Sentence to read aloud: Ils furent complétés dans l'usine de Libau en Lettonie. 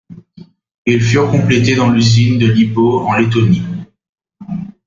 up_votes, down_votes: 2, 0